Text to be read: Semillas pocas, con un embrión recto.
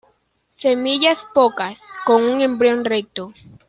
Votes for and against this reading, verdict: 2, 0, accepted